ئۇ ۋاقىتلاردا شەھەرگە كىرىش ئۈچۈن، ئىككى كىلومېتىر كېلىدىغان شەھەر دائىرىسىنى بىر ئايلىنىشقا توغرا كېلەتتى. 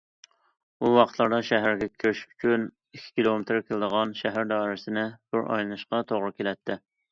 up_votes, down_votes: 3, 0